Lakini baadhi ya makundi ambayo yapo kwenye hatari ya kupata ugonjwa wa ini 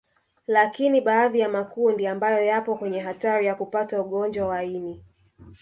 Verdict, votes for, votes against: rejected, 0, 2